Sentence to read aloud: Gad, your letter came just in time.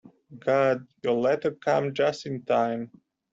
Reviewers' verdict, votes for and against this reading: rejected, 0, 2